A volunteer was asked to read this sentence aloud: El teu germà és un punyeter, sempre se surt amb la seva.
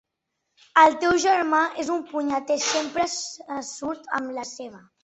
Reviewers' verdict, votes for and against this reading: rejected, 0, 2